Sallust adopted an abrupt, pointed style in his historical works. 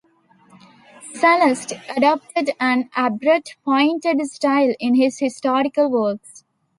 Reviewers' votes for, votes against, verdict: 2, 0, accepted